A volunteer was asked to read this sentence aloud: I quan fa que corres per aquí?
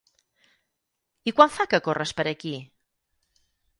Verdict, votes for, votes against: accepted, 6, 0